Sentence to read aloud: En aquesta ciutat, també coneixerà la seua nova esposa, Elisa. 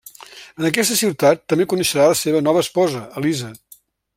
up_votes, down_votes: 2, 0